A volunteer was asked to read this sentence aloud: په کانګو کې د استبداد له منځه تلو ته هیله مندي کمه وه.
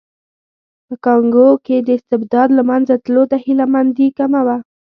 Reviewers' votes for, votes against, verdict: 2, 0, accepted